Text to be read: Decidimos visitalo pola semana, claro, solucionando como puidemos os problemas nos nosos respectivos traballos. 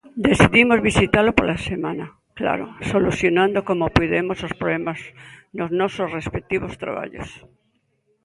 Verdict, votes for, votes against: accepted, 2, 0